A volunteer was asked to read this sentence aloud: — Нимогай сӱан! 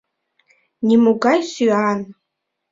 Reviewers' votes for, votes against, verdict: 2, 0, accepted